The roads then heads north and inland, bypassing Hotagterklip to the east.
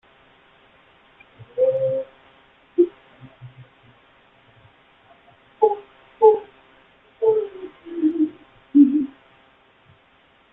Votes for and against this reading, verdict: 0, 2, rejected